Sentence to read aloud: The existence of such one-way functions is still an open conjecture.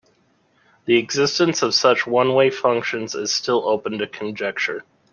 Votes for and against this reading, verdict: 1, 2, rejected